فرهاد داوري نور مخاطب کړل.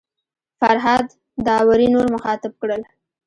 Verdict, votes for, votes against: rejected, 1, 2